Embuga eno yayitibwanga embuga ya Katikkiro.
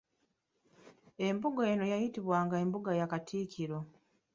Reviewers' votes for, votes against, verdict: 1, 2, rejected